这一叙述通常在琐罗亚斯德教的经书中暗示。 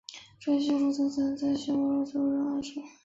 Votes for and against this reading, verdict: 1, 4, rejected